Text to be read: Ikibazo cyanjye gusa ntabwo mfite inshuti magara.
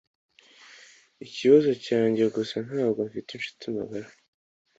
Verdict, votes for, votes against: accepted, 2, 0